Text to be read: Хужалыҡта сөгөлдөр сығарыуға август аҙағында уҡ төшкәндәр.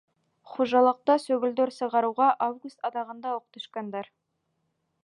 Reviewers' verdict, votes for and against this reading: accepted, 2, 1